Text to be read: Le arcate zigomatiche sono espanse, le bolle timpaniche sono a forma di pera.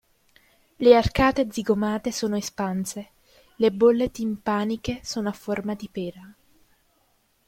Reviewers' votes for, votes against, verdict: 0, 2, rejected